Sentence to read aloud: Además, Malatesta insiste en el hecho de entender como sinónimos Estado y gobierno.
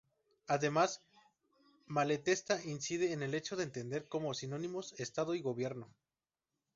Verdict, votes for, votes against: rejected, 0, 2